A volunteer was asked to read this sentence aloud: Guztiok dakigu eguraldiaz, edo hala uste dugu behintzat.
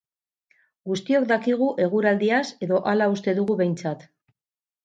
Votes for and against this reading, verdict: 2, 2, rejected